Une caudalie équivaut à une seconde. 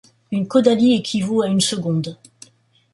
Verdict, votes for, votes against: accepted, 2, 0